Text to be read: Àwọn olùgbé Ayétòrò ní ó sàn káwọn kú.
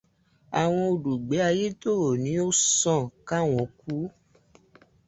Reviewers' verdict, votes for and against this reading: accepted, 2, 0